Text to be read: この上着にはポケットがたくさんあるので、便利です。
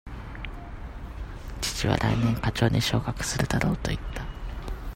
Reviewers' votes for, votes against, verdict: 0, 2, rejected